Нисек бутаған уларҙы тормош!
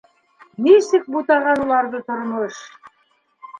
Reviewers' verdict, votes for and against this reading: accepted, 2, 0